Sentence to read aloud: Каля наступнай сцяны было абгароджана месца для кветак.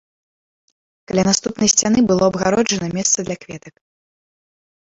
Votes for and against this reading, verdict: 1, 2, rejected